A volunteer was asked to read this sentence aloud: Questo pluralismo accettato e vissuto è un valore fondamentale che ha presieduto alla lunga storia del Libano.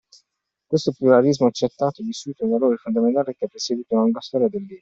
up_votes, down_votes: 0, 2